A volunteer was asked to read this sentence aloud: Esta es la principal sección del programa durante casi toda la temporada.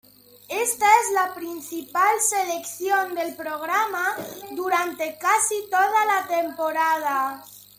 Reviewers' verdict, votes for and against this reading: rejected, 0, 2